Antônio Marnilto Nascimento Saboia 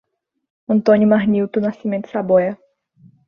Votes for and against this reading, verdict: 2, 0, accepted